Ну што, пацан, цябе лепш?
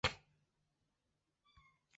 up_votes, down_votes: 0, 2